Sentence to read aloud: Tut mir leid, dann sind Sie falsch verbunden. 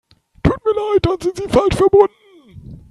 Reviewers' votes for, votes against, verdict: 2, 3, rejected